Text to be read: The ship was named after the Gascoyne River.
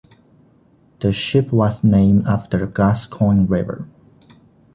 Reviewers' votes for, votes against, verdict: 1, 2, rejected